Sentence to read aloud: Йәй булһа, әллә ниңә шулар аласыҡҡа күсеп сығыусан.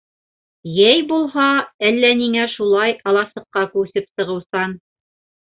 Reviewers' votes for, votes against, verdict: 0, 2, rejected